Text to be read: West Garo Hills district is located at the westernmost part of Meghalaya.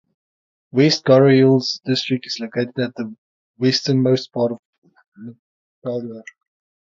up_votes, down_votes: 0, 3